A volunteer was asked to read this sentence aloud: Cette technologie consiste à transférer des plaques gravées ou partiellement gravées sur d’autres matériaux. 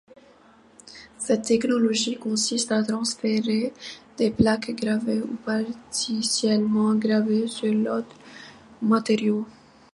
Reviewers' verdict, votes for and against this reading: rejected, 1, 2